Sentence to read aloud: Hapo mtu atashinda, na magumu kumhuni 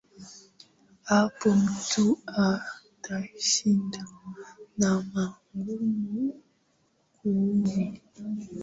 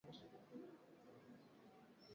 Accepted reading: first